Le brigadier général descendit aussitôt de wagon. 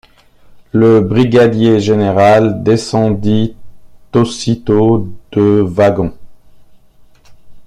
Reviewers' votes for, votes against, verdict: 1, 2, rejected